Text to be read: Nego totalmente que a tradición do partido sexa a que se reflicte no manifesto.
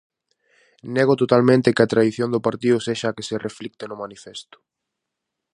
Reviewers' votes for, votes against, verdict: 4, 0, accepted